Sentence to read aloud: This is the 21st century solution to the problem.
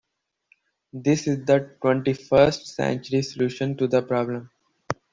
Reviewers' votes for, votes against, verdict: 0, 2, rejected